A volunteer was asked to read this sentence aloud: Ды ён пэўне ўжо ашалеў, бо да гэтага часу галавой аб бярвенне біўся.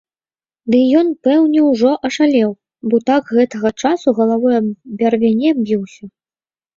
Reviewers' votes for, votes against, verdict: 1, 2, rejected